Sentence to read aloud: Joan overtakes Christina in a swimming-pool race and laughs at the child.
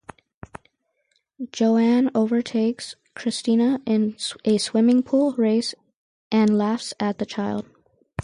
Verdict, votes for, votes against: rejected, 2, 2